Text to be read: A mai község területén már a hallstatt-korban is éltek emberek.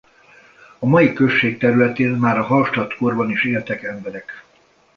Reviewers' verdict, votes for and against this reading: rejected, 0, 2